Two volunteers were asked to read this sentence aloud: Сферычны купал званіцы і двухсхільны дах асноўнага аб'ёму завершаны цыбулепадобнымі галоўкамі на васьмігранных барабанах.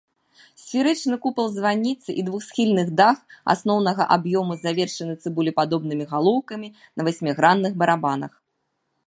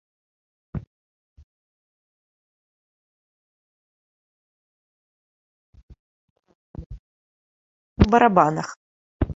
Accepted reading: first